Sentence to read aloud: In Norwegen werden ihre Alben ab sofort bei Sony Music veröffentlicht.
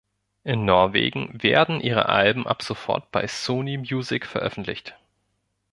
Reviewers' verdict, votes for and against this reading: accepted, 2, 0